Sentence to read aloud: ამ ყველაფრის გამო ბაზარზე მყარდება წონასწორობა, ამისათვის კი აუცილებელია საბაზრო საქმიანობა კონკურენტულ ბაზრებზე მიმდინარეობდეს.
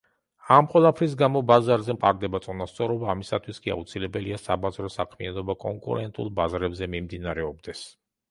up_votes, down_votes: 2, 0